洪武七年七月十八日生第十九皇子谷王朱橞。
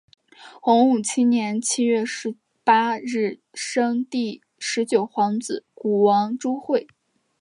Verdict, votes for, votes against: accepted, 2, 0